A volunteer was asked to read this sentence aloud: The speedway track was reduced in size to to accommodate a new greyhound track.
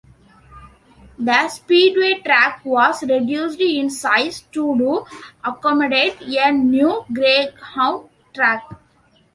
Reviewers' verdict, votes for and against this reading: rejected, 1, 2